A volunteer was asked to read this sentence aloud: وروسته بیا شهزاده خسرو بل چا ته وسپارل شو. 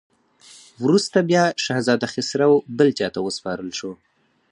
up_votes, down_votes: 4, 0